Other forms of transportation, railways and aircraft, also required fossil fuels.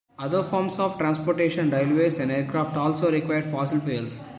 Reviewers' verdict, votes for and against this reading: accepted, 2, 1